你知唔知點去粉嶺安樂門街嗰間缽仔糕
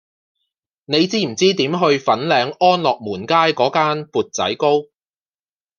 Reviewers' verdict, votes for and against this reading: accepted, 2, 0